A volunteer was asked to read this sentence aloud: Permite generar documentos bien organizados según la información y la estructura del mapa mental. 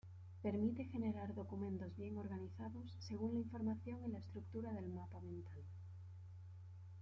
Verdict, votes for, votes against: accepted, 2, 1